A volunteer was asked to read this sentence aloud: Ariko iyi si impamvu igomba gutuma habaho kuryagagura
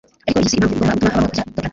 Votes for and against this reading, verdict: 1, 2, rejected